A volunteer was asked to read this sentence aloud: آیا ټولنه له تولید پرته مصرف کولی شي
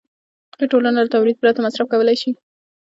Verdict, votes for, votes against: rejected, 0, 2